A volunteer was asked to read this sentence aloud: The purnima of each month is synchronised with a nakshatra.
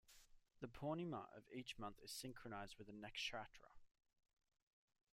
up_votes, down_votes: 1, 2